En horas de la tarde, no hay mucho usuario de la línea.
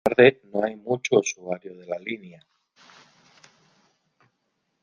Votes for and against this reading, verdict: 1, 2, rejected